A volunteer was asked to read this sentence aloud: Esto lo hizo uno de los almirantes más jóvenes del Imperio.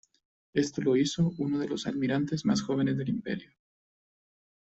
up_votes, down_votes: 2, 3